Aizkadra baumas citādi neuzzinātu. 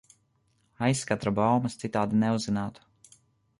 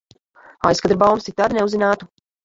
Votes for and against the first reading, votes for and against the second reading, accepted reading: 2, 0, 1, 2, first